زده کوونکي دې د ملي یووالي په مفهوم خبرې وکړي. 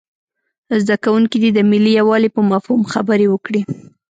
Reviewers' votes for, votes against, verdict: 2, 0, accepted